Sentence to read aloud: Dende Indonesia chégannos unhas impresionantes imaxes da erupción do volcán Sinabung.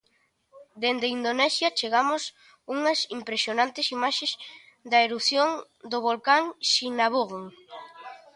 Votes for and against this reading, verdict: 0, 2, rejected